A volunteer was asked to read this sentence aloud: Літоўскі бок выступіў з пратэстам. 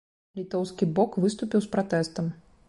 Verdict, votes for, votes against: accepted, 2, 0